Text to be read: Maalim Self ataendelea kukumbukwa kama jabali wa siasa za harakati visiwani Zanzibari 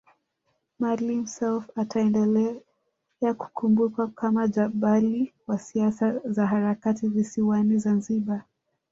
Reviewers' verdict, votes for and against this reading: rejected, 0, 2